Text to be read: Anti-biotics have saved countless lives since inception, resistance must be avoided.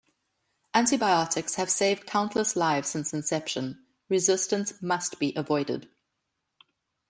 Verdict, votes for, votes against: accepted, 2, 0